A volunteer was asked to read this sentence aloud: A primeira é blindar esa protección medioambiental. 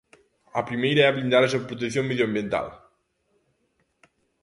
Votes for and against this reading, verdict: 3, 0, accepted